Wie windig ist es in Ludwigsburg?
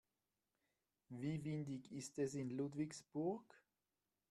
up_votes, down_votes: 2, 0